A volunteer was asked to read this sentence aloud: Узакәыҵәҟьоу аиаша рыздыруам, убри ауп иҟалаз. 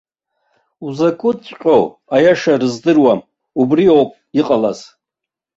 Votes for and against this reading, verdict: 2, 0, accepted